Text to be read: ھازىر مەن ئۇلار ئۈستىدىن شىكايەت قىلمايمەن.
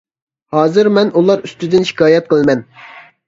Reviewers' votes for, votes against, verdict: 0, 2, rejected